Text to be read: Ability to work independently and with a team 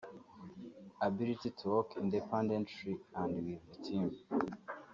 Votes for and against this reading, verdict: 1, 3, rejected